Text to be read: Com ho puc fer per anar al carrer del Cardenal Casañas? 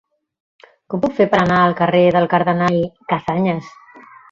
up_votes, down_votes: 1, 2